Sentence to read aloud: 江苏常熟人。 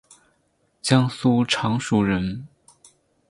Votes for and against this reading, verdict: 6, 0, accepted